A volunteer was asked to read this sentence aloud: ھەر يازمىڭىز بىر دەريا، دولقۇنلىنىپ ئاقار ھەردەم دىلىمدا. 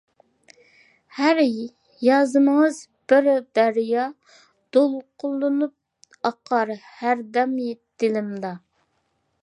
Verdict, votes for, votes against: rejected, 1, 2